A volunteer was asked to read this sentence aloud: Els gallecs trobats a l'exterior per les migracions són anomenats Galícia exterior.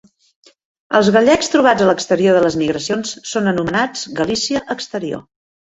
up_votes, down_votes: 0, 3